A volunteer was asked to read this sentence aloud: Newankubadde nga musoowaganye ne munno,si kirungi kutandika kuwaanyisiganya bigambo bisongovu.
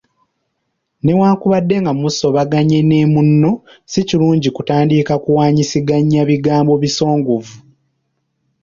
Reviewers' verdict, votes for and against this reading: rejected, 0, 2